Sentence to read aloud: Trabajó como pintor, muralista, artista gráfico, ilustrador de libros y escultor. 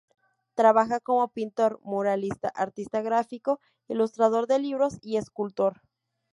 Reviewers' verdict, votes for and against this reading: rejected, 0, 2